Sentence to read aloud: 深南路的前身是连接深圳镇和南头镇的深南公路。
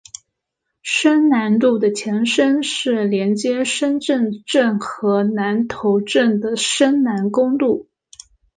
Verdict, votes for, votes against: accepted, 2, 0